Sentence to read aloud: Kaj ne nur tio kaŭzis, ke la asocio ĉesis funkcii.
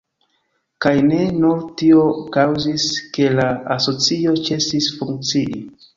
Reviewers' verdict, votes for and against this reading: rejected, 0, 2